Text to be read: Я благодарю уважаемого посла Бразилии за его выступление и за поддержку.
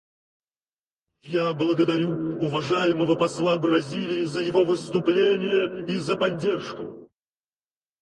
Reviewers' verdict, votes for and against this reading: rejected, 2, 4